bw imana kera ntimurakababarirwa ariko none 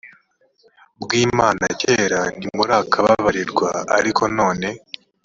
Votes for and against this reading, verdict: 3, 0, accepted